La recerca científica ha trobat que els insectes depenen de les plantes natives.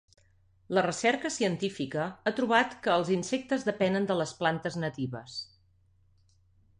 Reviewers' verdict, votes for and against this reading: accepted, 2, 0